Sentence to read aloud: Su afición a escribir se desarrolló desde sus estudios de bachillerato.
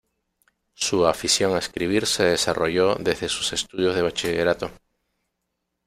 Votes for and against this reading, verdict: 1, 2, rejected